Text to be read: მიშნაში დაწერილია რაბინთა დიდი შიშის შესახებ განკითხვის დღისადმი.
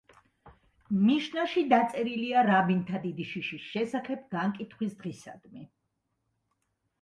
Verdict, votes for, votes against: accepted, 2, 0